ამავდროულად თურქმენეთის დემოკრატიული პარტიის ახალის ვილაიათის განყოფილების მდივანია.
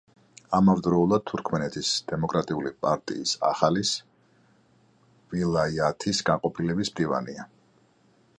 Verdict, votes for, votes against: accepted, 2, 0